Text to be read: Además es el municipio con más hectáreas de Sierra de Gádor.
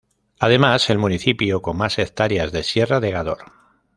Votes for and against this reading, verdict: 0, 2, rejected